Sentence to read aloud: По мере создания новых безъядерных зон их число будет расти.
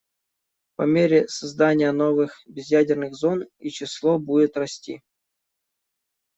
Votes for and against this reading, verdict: 1, 2, rejected